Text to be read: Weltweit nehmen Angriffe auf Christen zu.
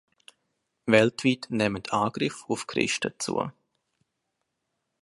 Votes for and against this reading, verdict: 0, 3, rejected